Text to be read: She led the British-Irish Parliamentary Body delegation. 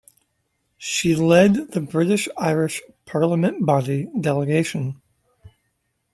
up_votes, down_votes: 0, 2